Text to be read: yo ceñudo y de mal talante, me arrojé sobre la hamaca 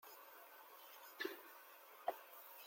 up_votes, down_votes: 0, 2